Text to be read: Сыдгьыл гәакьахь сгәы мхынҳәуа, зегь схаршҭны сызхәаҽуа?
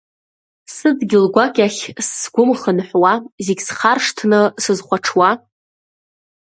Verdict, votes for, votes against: accepted, 2, 0